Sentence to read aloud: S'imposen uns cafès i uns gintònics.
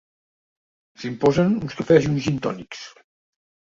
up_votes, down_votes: 3, 0